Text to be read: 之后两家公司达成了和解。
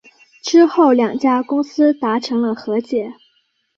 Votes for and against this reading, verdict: 2, 0, accepted